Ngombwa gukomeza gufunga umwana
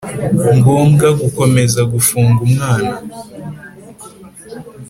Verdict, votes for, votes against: accepted, 2, 0